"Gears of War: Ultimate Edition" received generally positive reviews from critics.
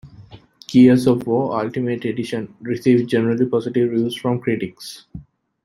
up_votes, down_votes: 2, 1